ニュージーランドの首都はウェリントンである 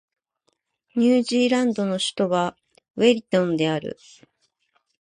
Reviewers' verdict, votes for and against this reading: rejected, 1, 2